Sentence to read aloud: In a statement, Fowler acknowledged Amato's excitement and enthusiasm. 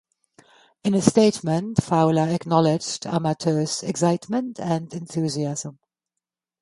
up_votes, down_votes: 2, 0